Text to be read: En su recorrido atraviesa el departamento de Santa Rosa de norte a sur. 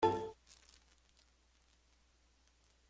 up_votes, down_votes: 0, 2